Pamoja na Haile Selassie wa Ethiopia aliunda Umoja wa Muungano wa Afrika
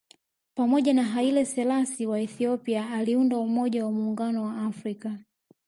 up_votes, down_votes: 1, 2